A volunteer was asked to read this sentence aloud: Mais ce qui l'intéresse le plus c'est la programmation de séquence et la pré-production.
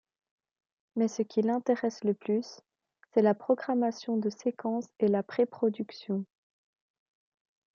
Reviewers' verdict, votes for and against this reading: rejected, 1, 2